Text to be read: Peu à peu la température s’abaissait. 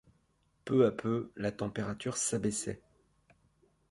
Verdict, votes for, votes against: accepted, 2, 0